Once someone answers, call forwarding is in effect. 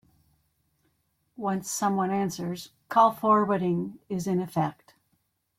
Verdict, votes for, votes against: accepted, 2, 0